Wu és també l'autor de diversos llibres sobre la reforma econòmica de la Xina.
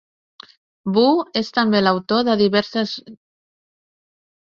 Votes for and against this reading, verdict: 0, 2, rejected